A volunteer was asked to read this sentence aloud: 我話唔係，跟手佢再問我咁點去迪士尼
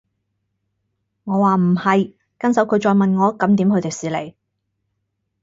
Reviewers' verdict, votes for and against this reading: accepted, 4, 2